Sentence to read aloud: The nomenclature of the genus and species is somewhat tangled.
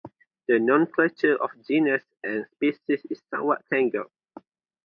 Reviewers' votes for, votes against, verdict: 0, 2, rejected